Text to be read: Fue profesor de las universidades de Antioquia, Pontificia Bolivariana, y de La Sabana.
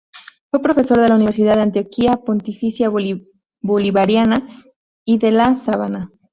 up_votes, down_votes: 0, 2